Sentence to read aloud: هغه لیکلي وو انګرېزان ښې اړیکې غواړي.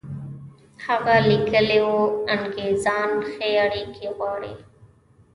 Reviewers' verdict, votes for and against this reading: rejected, 1, 2